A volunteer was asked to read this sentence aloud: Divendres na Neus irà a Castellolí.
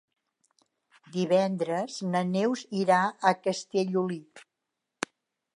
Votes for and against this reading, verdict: 3, 0, accepted